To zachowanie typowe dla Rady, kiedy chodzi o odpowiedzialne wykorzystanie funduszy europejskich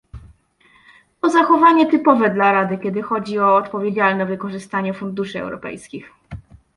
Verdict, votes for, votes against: rejected, 0, 2